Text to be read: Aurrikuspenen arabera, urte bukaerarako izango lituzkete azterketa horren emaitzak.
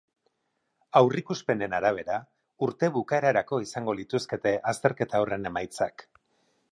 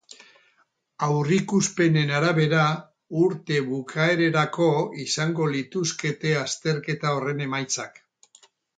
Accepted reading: first